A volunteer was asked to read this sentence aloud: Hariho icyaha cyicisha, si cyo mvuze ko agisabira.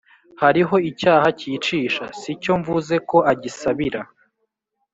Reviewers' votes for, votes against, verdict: 1, 2, rejected